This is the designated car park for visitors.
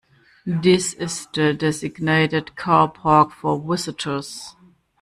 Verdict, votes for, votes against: rejected, 0, 2